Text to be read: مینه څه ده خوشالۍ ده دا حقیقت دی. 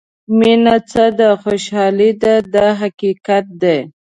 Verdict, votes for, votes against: accepted, 2, 0